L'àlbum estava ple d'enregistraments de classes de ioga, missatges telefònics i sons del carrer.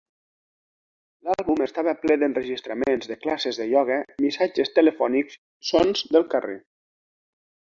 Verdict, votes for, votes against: rejected, 0, 2